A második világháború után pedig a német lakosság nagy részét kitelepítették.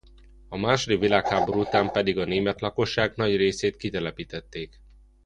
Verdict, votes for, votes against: rejected, 1, 2